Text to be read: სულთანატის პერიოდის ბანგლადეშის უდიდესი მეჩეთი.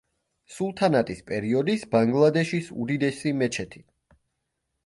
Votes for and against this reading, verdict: 2, 0, accepted